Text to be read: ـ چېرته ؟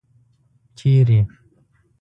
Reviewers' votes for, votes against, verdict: 2, 0, accepted